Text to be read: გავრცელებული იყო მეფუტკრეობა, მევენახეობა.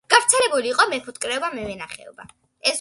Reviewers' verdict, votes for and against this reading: accepted, 2, 0